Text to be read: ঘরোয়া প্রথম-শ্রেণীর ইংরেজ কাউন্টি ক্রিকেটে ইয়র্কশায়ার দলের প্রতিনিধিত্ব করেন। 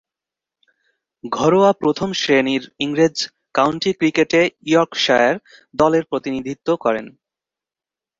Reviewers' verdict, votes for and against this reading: accepted, 2, 0